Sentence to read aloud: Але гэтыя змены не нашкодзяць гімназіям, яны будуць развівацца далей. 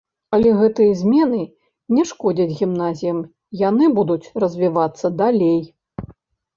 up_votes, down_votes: 0, 2